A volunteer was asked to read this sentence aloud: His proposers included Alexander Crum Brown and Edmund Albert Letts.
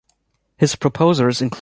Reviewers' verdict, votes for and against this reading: rejected, 1, 2